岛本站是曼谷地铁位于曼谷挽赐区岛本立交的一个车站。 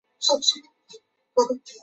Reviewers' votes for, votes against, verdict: 0, 4, rejected